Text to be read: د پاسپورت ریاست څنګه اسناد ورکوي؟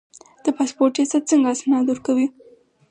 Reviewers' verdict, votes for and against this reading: accepted, 4, 0